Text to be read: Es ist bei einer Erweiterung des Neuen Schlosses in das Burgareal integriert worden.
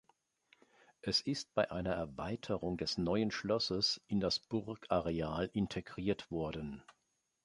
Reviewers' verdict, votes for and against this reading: accepted, 2, 0